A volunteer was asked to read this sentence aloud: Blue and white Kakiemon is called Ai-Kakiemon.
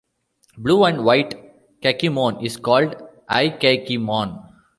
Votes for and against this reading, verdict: 1, 2, rejected